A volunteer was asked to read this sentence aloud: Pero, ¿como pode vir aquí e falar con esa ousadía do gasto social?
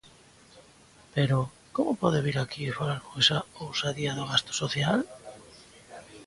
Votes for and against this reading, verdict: 2, 0, accepted